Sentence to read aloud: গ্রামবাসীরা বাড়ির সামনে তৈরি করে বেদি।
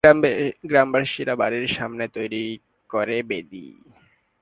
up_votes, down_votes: 2, 5